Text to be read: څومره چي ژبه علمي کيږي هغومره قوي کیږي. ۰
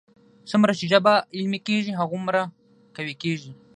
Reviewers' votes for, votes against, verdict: 0, 2, rejected